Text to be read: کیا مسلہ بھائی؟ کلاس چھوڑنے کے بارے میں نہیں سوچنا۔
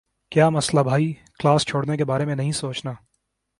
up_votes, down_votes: 9, 0